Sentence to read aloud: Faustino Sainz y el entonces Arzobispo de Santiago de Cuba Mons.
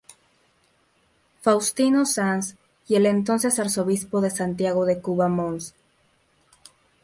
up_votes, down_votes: 0, 2